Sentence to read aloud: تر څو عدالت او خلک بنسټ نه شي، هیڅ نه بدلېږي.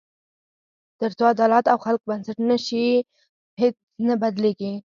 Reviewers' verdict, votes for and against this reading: accepted, 4, 0